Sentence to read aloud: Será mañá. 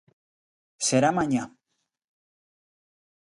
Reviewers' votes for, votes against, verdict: 2, 0, accepted